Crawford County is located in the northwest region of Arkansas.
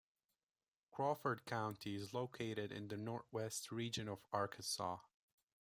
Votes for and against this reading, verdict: 1, 2, rejected